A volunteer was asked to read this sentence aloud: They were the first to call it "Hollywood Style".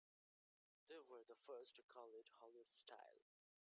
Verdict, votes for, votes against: accepted, 2, 0